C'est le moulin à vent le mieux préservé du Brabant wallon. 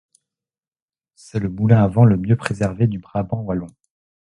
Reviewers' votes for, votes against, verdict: 2, 0, accepted